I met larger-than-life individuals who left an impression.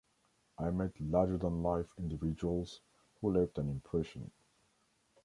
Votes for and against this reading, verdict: 2, 0, accepted